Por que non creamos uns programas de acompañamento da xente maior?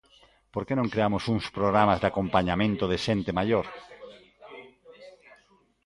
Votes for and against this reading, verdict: 1, 3, rejected